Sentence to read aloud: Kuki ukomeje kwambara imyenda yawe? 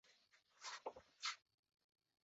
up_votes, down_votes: 0, 2